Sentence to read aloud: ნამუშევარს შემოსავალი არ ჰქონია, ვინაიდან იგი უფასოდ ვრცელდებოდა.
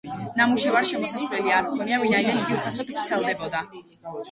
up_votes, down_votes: 0, 2